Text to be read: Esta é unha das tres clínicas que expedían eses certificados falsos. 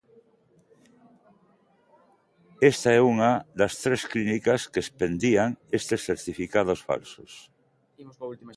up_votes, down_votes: 0, 2